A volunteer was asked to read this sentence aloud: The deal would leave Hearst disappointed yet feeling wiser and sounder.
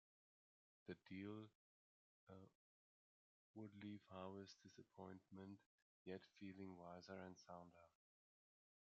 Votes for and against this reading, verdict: 0, 2, rejected